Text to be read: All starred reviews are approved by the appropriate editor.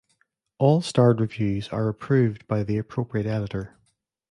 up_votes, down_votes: 2, 0